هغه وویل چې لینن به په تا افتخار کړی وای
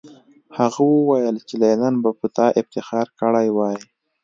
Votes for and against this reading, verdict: 2, 0, accepted